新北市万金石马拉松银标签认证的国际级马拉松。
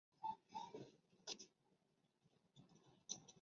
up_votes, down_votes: 0, 4